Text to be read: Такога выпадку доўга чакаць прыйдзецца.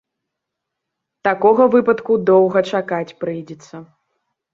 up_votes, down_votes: 3, 0